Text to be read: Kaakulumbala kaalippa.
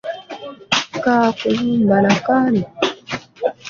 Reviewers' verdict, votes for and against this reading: rejected, 1, 2